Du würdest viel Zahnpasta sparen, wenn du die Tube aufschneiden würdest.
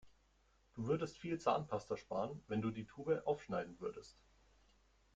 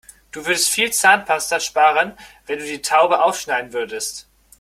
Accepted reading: first